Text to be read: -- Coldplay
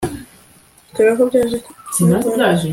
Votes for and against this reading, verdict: 0, 2, rejected